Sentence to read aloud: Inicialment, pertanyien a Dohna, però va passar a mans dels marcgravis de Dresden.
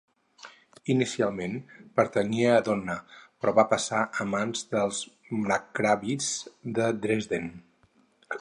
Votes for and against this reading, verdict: 0, 4, rejected